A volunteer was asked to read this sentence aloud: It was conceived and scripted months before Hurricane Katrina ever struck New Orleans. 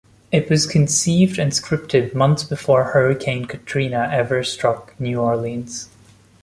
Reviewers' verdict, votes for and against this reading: accepted, 2, 0